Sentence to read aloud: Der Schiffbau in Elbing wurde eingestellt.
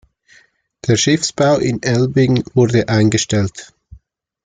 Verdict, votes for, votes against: accepted, 2, 1